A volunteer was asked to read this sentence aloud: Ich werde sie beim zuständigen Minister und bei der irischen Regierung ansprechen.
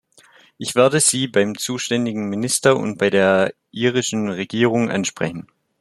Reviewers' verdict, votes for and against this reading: rejected, 1, 2